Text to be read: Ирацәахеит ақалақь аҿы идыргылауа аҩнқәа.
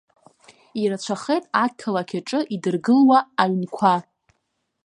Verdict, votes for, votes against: rejected, 1, 2